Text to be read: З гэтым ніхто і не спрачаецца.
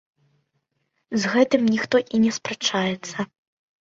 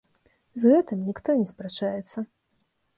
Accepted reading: first